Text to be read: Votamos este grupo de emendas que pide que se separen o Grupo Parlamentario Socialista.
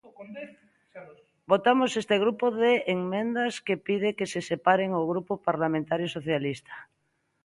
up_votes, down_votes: 0, 2